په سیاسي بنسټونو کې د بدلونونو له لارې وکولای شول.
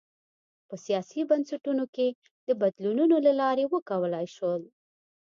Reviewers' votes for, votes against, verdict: 2, 0, accepted